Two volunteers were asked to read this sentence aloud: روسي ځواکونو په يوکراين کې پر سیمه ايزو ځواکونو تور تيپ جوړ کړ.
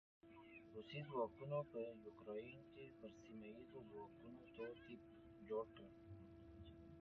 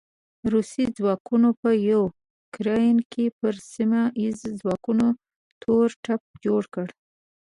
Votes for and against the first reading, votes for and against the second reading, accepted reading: 1, 2, 2, 0, second